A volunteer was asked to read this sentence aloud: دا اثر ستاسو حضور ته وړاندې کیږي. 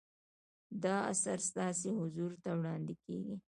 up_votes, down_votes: 2, 0